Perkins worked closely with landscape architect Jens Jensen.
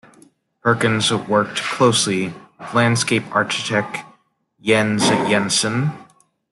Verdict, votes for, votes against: rejected, 1, 2